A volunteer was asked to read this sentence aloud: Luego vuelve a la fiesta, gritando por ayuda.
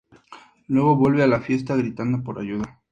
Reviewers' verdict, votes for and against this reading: accepted, 2, 0